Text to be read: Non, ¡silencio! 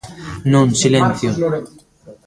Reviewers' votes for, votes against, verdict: 0, 2, rejected